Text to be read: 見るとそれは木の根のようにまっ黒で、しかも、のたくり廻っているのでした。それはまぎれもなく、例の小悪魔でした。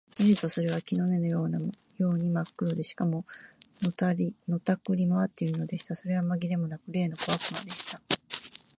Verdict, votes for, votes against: rejected, 2, 4